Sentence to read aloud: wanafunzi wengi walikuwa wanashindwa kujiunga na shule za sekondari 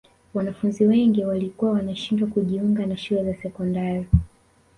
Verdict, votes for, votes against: accepted, 2, 0